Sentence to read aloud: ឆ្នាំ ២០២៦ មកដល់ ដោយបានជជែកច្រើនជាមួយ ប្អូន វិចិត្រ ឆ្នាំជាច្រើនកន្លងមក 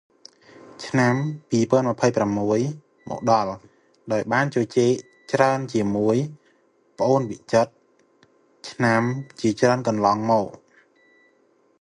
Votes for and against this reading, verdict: 0, 2, rejected